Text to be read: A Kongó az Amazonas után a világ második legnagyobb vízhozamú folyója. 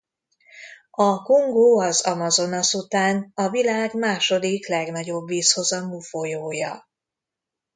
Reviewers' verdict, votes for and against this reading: accepted, 2, 0